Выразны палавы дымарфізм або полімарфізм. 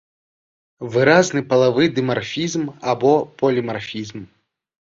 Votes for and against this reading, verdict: 3, 0, accepted